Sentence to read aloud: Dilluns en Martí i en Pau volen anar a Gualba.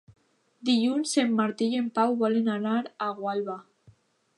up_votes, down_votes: 2, 0